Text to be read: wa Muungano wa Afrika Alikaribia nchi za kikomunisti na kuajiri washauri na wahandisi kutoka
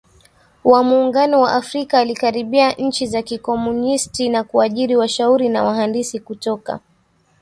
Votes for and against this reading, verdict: 2, 0, accepted